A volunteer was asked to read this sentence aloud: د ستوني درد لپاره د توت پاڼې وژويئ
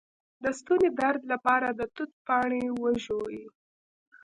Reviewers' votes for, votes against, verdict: 0, 2, rejected